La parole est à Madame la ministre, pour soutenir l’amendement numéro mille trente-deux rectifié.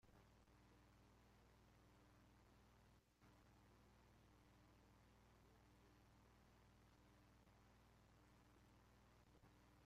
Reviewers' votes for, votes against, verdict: 0, 2, rejected